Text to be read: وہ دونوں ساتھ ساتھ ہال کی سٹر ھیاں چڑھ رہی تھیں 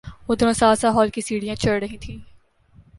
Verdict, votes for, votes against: rejected, 0, 2